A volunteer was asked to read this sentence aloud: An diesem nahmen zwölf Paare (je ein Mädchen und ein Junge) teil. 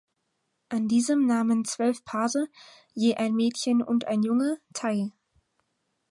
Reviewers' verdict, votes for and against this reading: rejected, 2, 4